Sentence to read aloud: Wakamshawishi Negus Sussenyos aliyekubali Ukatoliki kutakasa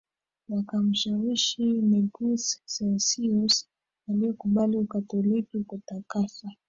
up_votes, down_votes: 0, 2